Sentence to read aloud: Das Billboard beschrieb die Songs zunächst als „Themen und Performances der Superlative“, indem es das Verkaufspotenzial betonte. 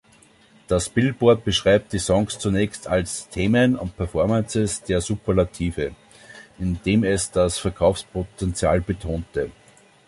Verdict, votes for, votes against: rejected, 0, 2